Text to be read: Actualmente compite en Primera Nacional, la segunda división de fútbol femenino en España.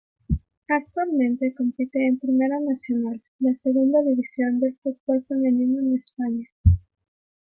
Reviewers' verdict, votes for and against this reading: accepted, 2, 0